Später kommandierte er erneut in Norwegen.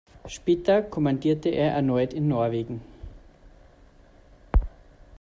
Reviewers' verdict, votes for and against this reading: accepted, 2, 0